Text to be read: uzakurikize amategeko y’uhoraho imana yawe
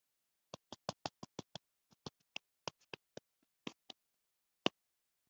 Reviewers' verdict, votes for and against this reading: rejected, 0, 2